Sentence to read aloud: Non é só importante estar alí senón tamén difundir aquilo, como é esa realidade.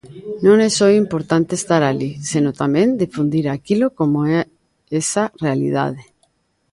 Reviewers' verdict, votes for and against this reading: rejected, 0, 2